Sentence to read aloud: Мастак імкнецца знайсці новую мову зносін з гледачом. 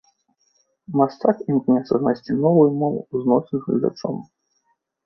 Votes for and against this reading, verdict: 2, 1, accepted